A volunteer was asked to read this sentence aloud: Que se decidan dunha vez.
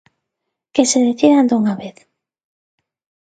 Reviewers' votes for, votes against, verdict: 2, 0, accepted